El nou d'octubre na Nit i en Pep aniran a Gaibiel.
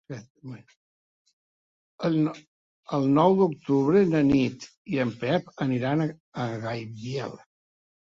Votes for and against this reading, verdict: 0, 3, rejected